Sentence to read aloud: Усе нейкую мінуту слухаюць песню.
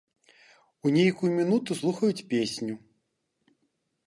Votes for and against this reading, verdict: 0, 2, rejected